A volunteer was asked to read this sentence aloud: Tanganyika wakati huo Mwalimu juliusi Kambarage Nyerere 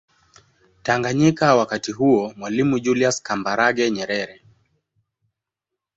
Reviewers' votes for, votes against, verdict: 4, 0, accepted